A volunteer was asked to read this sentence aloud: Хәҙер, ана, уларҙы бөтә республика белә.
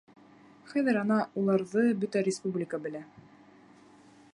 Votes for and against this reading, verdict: 3, 0, accepted